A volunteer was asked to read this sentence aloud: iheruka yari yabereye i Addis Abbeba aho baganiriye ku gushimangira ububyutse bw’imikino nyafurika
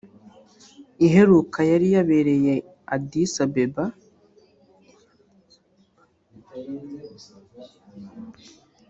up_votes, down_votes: 1, 2